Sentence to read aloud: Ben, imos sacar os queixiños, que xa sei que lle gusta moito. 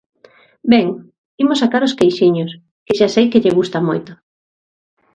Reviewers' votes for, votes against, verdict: 2, 0, accepted